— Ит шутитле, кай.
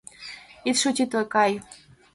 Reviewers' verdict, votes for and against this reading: accepted, 2, 0